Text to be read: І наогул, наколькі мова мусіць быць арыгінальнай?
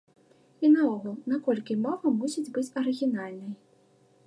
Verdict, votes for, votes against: accepted, 2, 0